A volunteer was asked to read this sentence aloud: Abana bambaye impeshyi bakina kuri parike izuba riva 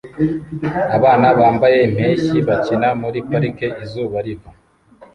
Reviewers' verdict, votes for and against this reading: rejected, 0, 2